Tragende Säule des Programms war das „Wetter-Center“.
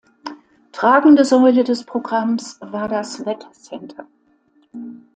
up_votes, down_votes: 2, 0